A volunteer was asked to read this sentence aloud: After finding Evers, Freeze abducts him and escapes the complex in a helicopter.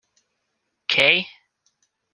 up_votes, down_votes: 0, 2